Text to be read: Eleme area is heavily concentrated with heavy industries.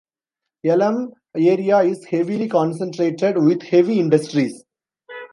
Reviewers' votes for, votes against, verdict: 1, 2, rejected